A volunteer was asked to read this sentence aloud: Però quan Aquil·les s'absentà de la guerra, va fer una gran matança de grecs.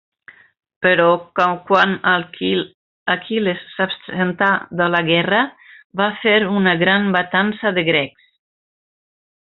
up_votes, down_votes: 1, 2